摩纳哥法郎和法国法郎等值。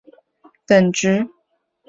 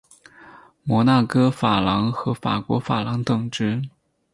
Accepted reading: second